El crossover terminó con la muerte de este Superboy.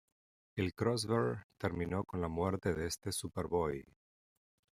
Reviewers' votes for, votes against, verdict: 1, 2, rejected